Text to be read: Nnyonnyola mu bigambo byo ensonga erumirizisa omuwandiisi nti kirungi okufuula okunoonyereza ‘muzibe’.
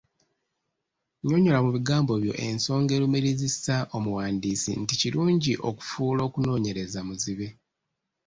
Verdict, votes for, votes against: accepted, 2, 0